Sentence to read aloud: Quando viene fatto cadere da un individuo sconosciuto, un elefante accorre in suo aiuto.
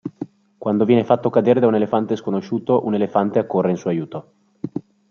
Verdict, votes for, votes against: rejected, 1, 2